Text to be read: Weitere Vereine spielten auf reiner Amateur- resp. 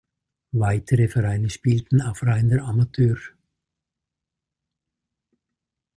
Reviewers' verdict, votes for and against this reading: rejected, 1, 2